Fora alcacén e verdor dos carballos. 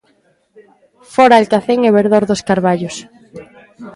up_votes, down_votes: 1, 2